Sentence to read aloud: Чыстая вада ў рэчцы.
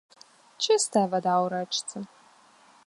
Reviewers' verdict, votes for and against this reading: accepted, 2, 0